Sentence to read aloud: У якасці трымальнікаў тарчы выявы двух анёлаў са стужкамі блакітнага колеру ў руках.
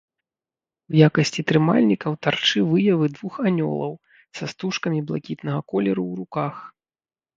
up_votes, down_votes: 2, 1